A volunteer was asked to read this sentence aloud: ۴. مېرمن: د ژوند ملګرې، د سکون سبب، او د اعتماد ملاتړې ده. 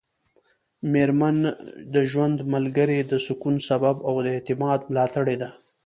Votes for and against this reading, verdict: 0, 2, rejected